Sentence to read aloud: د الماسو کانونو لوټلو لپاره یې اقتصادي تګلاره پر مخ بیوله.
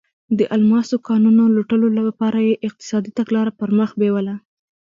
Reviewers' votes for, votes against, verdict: 1, 2, rejected